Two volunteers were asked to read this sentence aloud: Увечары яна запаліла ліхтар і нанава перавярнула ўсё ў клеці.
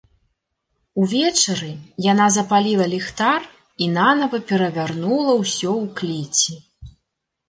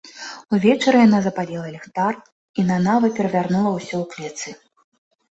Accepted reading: first